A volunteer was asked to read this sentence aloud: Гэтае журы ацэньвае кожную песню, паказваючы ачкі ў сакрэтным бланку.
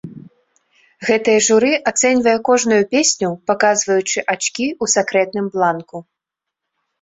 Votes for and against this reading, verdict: 2, 0, accepted